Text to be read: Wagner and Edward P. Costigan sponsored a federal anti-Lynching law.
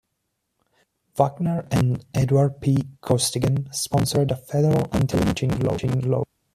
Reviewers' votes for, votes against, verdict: 1, 2, rejected